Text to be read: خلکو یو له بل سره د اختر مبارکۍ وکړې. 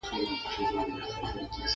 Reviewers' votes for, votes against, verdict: 1, 2, rejected